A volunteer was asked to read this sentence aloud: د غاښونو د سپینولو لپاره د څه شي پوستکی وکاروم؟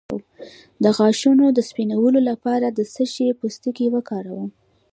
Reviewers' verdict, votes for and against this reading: rejected, 1, 2